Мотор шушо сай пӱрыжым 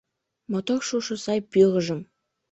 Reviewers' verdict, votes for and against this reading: rejected, 0, 2